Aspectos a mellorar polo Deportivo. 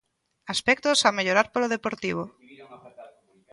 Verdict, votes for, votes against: rejected, 1, 2